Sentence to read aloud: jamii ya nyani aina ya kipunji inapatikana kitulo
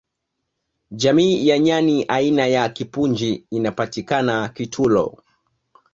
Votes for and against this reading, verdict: 9, 1, accepted